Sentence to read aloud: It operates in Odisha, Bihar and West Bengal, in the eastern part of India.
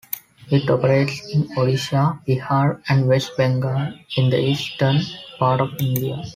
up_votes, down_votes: 2, 0